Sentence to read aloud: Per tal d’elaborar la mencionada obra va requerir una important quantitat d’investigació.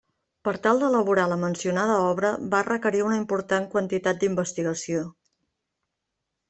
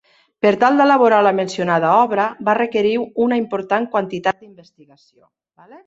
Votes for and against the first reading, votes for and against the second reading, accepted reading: 3, 0, 0, 2, first